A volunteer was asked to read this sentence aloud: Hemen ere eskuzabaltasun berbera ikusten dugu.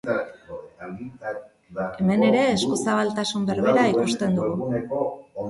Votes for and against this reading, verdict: 1, 2, rejected